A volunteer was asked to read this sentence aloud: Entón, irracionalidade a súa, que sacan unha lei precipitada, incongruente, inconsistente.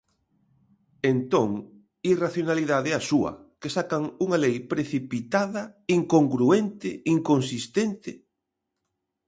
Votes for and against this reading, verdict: 2, 0, accepted